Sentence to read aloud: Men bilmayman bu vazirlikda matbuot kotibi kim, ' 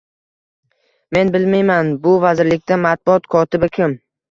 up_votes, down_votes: 2, 0